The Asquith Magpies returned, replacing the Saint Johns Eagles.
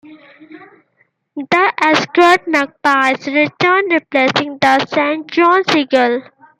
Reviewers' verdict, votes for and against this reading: rejected, 0, 2